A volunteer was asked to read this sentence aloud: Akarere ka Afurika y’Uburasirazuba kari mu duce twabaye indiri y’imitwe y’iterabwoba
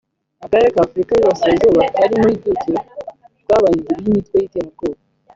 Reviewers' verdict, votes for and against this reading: rejected, 0, 2